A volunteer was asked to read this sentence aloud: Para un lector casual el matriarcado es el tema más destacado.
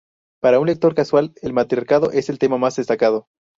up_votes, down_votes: 2, 0